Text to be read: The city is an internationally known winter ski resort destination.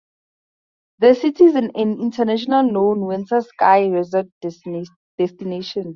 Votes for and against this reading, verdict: 2, 2, rejected